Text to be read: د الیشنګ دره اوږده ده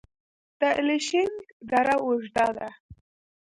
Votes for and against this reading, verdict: 1, 2, rejected